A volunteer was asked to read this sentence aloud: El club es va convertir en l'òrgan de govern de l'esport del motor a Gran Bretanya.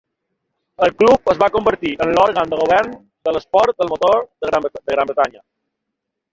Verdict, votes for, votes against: accepted, 2, 0